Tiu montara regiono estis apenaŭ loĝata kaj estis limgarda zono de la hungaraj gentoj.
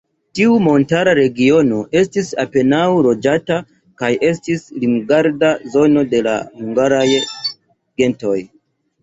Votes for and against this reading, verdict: 0, 2, rejected